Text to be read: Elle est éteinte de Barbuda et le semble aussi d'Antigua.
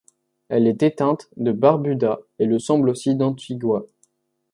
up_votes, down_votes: 2, 0